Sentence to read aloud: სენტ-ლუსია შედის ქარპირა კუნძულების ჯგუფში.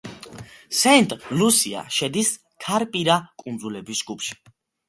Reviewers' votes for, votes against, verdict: 2, 0, accepted